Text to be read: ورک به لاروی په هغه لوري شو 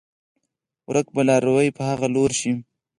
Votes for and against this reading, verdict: 2, 4, rejected